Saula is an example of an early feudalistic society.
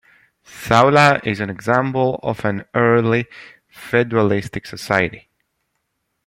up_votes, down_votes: 0, 2